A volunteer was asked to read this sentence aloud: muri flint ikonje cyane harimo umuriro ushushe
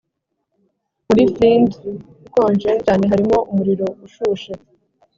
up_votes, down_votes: 6, 0